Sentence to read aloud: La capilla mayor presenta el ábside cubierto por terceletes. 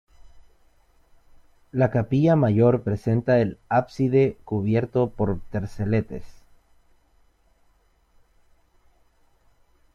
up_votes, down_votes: 0, 2